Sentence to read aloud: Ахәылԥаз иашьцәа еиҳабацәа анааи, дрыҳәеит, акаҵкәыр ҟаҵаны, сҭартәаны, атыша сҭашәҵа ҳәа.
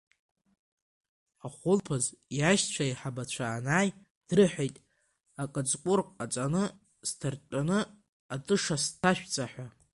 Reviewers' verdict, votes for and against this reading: rejected, 2, 3